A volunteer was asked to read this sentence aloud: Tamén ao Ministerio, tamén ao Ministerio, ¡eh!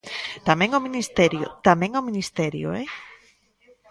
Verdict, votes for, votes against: rejected, 1, 2